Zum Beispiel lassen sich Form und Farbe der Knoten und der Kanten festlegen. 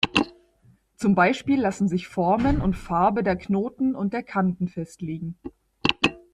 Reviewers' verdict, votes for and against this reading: accepted, 2, 1